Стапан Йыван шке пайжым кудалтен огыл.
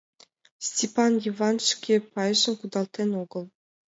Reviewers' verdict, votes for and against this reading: rejected, 0, 6